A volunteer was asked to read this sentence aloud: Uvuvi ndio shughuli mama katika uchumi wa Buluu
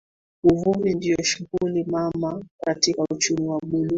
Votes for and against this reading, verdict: 2, 1, accepted